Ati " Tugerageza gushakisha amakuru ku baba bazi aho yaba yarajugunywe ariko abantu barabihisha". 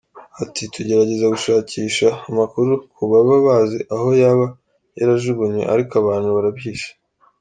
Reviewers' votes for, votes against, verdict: 1, 2, rejected